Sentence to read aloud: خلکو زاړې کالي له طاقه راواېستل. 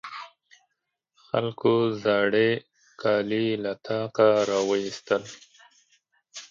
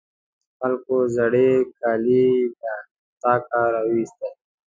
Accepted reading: first